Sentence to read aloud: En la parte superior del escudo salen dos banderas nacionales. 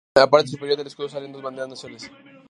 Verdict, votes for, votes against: rejected, 0, 2